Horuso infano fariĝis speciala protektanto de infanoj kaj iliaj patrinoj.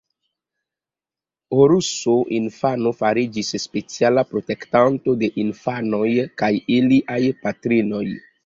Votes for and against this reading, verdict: 2, 0, accepted